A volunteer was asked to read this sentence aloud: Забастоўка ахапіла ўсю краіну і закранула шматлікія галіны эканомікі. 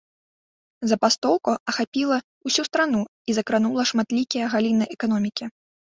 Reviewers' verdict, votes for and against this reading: rejected, 1, 2